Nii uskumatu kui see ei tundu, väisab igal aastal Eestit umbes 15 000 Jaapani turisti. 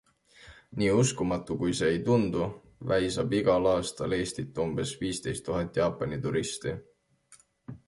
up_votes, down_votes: 0, 2